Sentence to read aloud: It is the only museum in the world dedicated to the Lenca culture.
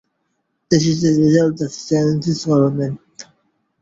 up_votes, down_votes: 0, 2